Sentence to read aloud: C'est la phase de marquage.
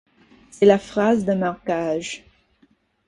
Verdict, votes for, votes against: rejected, 0, 4